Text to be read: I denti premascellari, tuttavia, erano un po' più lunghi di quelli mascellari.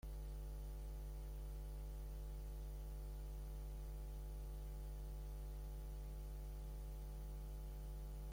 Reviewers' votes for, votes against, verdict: 0, 3, rejected